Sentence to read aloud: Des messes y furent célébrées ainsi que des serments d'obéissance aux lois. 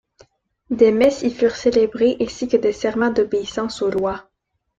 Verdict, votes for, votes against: accepted, 2, 0